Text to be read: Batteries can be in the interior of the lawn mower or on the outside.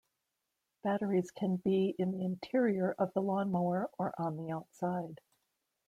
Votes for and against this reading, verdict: 2, 0, accepted